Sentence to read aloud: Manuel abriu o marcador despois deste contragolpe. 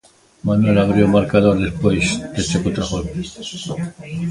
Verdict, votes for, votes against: rejected, 1, 2